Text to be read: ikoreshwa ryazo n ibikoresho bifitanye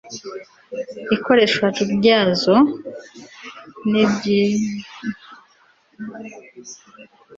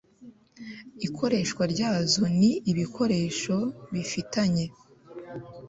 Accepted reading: second